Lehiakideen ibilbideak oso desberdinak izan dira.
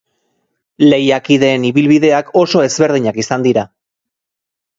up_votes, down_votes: 2, 3